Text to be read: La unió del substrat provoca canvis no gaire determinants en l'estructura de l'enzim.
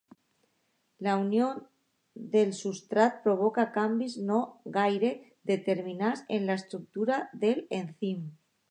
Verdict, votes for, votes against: rejected, 0, 2